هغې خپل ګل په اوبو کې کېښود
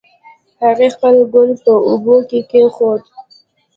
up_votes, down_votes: 2, 0